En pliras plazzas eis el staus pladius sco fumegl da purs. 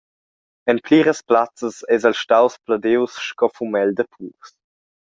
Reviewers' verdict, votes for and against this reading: accepted, 2, 0